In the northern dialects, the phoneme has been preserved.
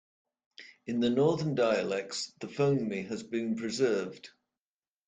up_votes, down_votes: 0, 2